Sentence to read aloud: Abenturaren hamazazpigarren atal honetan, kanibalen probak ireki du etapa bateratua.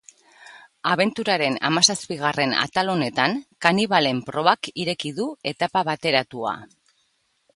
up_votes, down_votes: 2, 0